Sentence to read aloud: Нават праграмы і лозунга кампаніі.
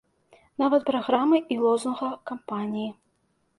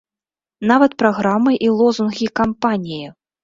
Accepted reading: first